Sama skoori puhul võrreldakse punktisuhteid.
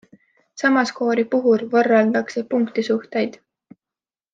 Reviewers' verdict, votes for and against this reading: accepted, 2, 0